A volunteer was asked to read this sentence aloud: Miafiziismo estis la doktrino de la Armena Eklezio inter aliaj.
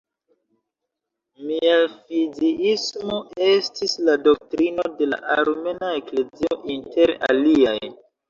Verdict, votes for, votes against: rejected, 0, 2